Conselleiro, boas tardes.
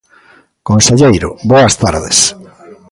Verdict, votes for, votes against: rejected, 1, 2